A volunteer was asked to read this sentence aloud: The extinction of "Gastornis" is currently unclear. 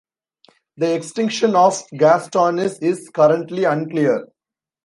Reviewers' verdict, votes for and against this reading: accepted, 2, 0